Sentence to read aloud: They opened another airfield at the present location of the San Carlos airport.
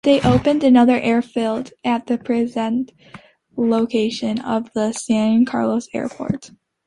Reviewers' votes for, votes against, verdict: 2, 0, accepted